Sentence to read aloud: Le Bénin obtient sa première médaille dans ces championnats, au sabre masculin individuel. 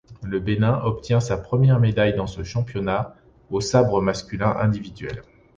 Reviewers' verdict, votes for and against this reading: rejected, 0, 2